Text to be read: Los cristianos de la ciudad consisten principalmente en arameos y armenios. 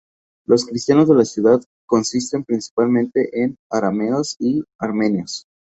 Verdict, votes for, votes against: accepted, 2, 0